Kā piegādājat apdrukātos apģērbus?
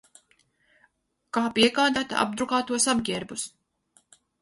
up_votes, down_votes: 0, 4